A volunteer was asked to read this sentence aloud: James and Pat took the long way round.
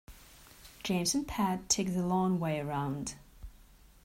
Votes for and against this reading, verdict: 2, 0, accepted